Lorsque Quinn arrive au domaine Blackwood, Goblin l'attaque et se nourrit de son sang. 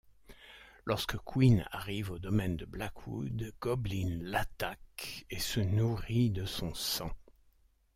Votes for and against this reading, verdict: 1, 2, rejected